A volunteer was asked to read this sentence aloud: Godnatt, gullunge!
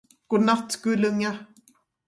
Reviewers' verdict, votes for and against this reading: rejected, 0, 2